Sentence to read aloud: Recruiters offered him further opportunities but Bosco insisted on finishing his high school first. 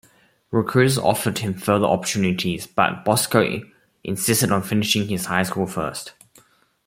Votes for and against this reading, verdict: 0, 2, rejected